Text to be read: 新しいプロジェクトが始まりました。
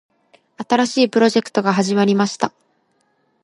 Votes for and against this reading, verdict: 2, 0, accepted